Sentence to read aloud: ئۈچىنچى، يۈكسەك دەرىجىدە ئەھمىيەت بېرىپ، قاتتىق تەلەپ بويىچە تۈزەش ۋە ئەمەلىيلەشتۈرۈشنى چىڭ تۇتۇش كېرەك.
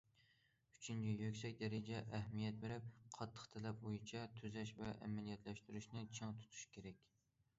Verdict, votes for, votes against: rejected, 0, 2